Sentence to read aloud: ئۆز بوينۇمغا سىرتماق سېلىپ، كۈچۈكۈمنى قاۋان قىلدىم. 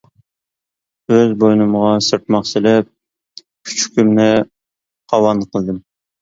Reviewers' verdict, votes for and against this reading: accepted, 2, 0